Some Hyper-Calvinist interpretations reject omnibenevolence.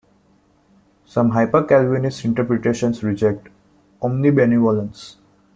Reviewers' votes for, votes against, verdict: 2, 0, accepted